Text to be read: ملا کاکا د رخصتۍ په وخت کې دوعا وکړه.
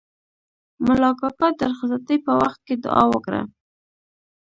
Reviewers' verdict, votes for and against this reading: rejected, 1, 2